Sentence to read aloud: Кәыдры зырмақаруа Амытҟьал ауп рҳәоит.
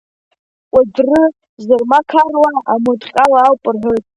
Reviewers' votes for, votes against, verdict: 1, 2, rejected